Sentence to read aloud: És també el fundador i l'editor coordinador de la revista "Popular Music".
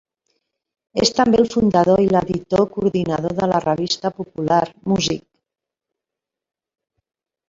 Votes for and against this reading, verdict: 0, 2, rejected